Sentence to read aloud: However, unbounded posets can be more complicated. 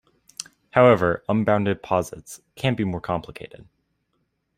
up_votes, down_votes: 2, 0